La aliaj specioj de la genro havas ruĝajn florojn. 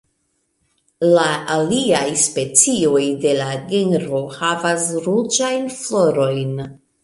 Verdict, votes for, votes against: accepted, 2, 0